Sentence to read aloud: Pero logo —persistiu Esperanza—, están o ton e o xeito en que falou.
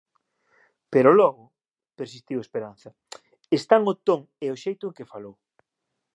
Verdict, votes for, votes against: accepted, 2, 1